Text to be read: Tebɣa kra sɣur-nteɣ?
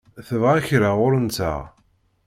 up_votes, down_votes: 1, 2